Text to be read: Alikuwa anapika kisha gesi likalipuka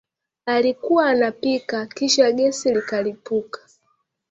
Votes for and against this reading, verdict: 2, 0, accepted